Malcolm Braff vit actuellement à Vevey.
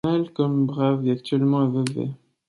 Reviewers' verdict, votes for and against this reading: rejected, 0, 2